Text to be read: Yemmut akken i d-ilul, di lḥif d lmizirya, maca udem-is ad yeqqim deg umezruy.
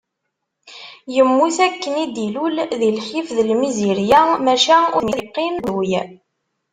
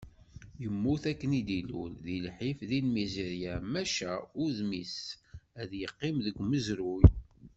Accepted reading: second